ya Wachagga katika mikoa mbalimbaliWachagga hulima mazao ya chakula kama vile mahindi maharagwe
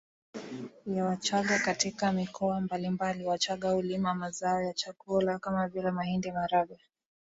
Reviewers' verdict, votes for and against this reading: accepted, 2, 0